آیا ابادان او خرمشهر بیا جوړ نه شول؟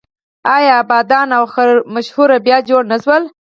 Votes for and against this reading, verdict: 0, 4, rejected